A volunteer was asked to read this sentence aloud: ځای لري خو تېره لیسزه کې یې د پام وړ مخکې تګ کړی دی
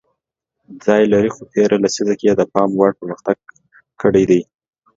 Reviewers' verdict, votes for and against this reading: accepted, 2, 0